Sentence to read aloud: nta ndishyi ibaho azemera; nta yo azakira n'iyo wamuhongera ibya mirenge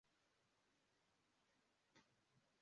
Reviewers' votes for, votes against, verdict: 0, 2, rejected